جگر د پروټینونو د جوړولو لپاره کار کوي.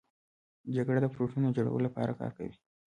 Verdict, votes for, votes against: rejected, 1, 2